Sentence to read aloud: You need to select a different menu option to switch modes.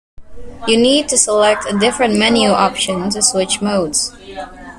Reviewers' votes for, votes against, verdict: 2, 0, accepted